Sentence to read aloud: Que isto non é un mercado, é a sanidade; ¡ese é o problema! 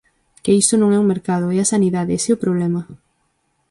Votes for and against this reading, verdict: 0, 4, rejected